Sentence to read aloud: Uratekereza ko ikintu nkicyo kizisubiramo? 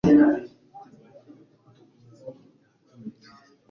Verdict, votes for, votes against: rejected, 0, 3